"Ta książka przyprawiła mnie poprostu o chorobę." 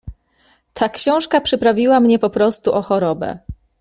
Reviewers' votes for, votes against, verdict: 2, 0, accepted